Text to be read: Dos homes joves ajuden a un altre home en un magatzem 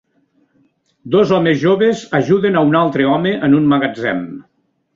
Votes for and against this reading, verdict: 3, 0, accepted